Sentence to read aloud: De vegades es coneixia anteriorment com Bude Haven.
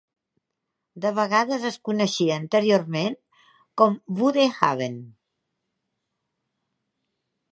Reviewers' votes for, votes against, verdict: 2, 0, accepted